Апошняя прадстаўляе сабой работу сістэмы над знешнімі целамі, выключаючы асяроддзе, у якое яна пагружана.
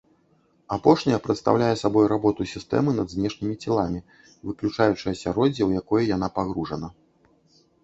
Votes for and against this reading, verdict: 2, 1, accepted